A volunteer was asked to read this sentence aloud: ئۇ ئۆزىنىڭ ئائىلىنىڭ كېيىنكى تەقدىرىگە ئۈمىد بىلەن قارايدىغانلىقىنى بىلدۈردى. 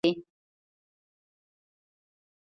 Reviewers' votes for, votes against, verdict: 0, 2, rejected